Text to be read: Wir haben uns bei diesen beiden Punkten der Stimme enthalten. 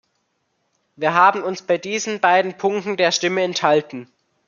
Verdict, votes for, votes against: accepted, 2, 0